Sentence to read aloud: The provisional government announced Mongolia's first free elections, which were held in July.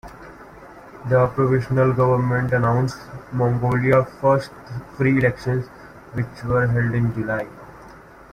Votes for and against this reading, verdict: 1, 2, rejected